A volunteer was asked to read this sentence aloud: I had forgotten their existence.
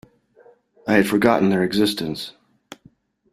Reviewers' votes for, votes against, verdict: 2, 0, accepted